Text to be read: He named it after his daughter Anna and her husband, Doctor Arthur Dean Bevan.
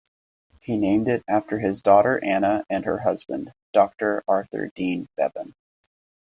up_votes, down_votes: 2, 0